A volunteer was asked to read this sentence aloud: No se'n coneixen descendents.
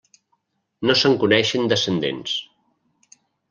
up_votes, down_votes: 3, 0